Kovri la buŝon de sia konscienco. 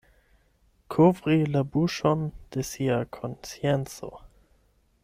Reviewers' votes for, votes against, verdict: 4, 8, rejected